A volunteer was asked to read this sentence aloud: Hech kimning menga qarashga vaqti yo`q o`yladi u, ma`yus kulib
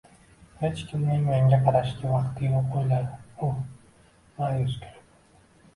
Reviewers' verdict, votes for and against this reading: accepted, 2, 0